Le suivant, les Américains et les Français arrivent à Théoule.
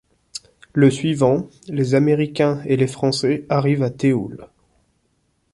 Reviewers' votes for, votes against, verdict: 2, 0, accepted